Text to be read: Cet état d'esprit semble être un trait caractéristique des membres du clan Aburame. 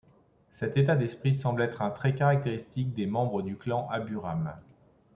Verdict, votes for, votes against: accepted, 2, 0